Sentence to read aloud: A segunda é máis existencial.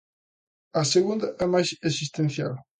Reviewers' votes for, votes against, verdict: 2, 0, accepted